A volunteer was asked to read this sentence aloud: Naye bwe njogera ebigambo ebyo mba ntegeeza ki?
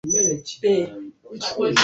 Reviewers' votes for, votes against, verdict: 0, 2, rejected